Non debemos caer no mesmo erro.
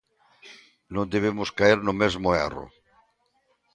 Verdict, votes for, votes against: accepted, 2, 0